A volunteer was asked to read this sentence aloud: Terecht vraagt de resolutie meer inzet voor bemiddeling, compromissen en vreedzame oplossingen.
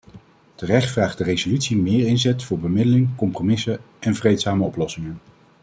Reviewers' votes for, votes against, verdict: 2, 0, accepted